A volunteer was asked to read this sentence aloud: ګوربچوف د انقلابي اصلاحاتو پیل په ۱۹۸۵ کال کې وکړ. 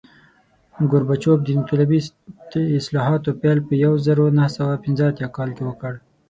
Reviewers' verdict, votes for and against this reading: rejected, 0, 2